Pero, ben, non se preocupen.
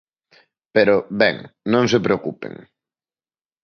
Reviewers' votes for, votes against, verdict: 2, 0, accepted